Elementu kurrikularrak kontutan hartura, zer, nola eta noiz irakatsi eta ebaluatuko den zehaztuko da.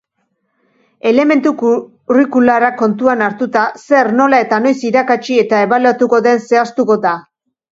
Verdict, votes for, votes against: rejected, 0, 2